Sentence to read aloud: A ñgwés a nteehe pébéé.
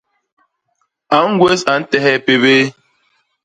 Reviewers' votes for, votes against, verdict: 0, 2, rejected